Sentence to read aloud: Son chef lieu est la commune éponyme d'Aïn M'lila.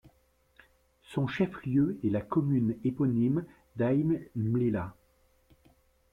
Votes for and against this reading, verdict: 1, 2, rejected